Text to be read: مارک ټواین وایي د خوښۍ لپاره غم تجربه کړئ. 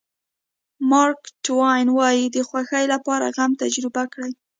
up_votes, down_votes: 2, 0